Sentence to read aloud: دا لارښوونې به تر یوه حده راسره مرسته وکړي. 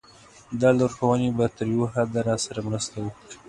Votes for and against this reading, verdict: 2, 0, accepted